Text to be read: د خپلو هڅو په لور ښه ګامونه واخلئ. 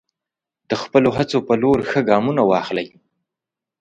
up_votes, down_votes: 2, 0